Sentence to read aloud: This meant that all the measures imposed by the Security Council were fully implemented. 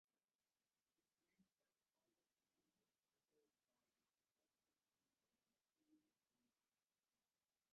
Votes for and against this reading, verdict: 0, 3, rejected